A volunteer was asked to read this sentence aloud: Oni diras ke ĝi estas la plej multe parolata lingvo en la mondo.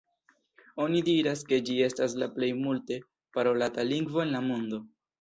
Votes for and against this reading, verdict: 2, 0, accepted